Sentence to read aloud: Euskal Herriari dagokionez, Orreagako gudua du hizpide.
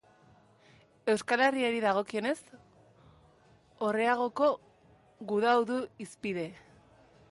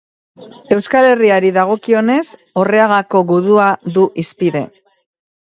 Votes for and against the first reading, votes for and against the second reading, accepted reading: 0, 3, 4, 0, second